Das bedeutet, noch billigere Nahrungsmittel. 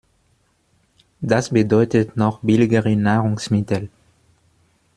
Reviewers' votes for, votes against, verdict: 1, 2, rejected